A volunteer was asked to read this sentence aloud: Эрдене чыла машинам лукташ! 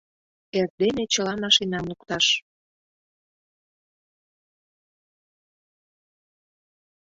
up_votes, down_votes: 2, 0